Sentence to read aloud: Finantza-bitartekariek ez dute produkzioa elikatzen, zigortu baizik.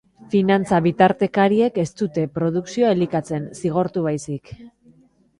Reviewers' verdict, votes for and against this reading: accepted, 2, 0